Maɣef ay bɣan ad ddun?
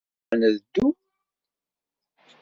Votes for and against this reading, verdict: 0, 2, rejected